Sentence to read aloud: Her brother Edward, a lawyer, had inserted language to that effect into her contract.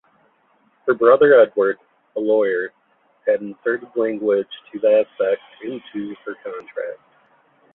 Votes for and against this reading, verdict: 0, 3, rejected